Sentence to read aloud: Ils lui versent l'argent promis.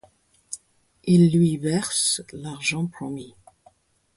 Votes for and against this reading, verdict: 4, 0, accepted